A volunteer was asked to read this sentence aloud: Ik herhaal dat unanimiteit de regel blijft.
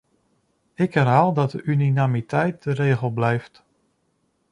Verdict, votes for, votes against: rejected, 0, 2